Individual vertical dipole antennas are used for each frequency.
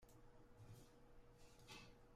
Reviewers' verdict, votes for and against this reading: rejected, 1, 2